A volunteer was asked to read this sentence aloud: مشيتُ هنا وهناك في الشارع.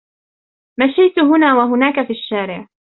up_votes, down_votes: 0, 2